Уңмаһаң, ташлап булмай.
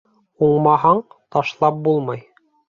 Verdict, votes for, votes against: accepted, 2, 0